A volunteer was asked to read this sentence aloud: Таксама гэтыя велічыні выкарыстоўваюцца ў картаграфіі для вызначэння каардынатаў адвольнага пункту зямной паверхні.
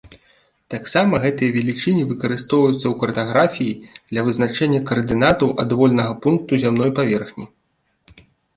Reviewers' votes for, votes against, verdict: 2, 0, accepted